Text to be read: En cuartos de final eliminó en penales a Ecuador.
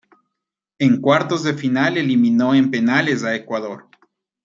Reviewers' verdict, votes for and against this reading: accepted, 2, 0